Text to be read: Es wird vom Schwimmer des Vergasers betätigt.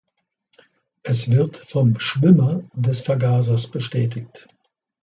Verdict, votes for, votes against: rejected, 1, 3